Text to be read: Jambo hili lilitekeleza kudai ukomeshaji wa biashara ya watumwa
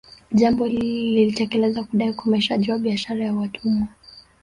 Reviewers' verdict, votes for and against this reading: accepted, 2, 1